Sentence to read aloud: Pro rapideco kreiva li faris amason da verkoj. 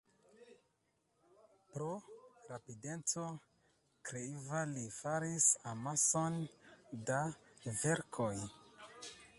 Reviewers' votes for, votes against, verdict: 1, 2, rejected